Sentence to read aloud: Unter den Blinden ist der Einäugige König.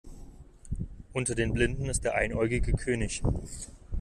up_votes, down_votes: 2, 0